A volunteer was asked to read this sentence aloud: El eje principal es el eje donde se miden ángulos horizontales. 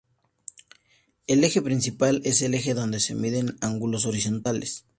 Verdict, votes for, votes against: accepted, 2, 0